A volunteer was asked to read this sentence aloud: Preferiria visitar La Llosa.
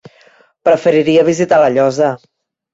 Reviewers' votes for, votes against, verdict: 3, 0, accepted